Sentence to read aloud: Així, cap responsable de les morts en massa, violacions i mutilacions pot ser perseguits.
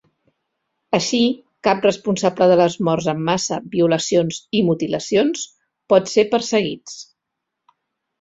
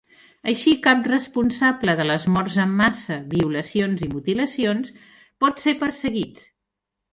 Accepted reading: first